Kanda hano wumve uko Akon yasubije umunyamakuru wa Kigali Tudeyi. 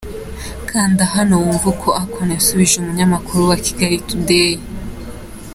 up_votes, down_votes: 1, 2